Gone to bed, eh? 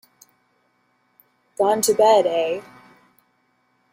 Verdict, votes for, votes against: accepted, 2, 0